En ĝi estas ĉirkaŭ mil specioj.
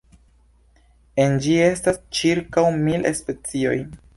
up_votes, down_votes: 2, 0